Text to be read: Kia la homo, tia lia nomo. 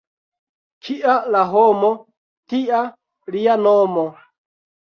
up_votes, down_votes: 2, 0